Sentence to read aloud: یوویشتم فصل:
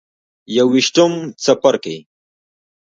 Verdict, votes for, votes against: rejected, 0, 2